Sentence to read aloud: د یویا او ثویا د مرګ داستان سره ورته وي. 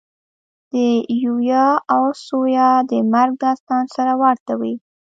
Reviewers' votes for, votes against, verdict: 1, 2, rejected